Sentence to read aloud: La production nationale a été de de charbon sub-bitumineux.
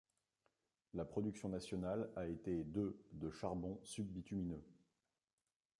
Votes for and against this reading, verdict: 0, 2, rejected